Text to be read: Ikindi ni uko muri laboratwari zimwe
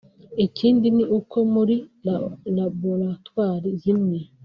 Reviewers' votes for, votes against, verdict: 0, 5, rejected